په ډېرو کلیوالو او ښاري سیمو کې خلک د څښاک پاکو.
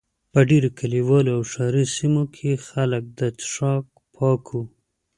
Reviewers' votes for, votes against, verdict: 2, 0, accepted